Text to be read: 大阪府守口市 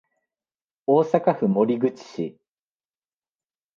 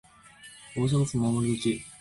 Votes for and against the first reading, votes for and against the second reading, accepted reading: 2, 0, 1, 2, first